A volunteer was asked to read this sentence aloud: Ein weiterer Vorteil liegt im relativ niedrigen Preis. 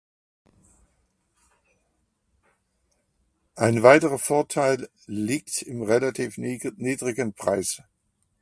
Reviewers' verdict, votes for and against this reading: rejected, 1, 2